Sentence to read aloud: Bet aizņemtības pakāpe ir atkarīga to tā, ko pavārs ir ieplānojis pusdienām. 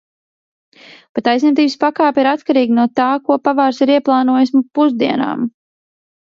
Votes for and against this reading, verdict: 2, 0, accepted